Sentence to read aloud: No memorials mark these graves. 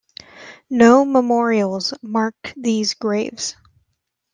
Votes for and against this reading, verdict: 2, 0, accepted